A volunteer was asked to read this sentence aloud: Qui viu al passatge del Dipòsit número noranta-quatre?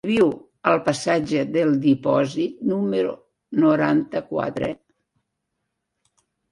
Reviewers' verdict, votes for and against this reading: rejected, 0, 2